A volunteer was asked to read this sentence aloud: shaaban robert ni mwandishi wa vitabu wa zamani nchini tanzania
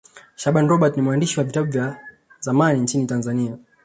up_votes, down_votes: 2, 1